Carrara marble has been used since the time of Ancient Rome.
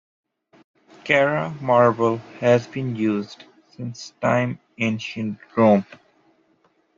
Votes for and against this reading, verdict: 0, 2, rejected